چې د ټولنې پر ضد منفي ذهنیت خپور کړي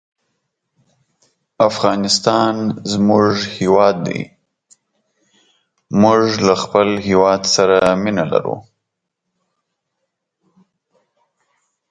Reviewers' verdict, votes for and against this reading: rejected, 1, 4